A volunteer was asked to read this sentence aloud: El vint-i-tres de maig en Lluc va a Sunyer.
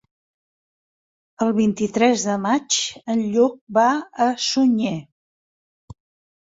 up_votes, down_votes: 4, 0